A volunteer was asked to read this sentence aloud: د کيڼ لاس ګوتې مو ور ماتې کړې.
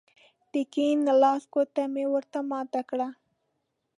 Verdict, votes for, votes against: rejected, 0, 2